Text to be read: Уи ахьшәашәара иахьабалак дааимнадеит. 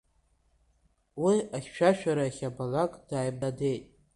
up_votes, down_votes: 1, 2